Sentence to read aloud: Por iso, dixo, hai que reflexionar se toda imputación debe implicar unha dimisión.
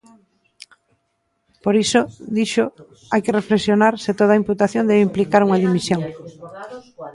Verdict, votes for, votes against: rejected, 0, 2